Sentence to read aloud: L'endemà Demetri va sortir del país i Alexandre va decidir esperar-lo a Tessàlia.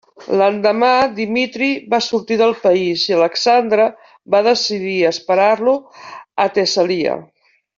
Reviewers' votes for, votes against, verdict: 0, 2, rejected